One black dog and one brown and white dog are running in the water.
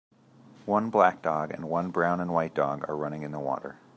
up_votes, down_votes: 2, 0